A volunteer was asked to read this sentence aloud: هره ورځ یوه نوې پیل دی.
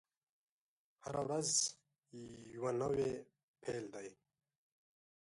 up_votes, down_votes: 2, 0